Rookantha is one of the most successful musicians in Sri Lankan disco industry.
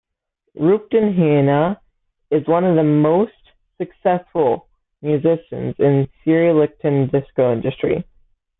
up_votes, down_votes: 0, 2